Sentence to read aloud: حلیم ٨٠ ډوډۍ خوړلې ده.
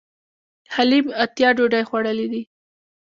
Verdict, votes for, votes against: rejected, 0, 2